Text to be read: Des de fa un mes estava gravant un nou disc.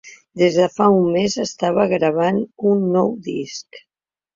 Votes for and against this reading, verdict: 3, 0, accepted